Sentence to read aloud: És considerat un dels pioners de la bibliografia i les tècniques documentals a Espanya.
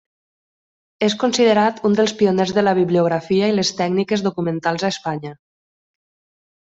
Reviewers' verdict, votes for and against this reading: accepted, 3, 0